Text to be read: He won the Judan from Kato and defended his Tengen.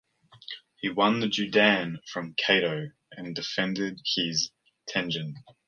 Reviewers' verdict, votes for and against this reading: accepted, 2, 1